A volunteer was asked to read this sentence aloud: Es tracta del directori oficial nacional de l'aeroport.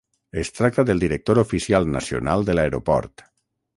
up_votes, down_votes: 0, 6